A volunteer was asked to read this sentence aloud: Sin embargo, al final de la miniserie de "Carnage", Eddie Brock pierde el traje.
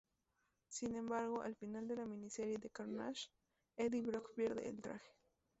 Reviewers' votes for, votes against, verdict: 2, 0, accepted